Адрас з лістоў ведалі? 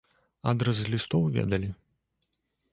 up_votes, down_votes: 2, 0